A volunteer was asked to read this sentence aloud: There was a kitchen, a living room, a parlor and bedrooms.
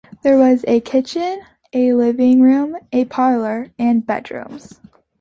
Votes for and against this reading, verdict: 2, 0, accepted